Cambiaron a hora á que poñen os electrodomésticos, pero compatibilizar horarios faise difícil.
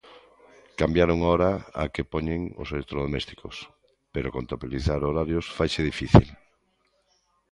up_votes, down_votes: 1, 2